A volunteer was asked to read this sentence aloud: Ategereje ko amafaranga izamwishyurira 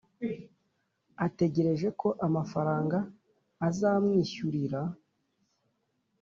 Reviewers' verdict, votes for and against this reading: rejected, 1, 2